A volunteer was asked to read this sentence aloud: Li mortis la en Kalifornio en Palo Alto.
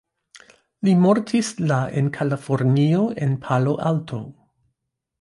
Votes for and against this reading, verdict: 1, 2, rejected